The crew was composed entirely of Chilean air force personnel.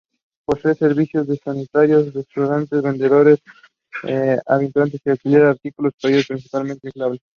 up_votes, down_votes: 1, 2